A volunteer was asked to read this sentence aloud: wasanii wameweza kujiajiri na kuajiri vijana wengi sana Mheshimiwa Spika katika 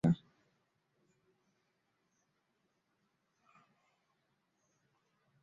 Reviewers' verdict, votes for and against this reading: rejected, 0, 2